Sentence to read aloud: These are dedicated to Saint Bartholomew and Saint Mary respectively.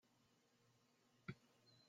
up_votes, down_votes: 0, 2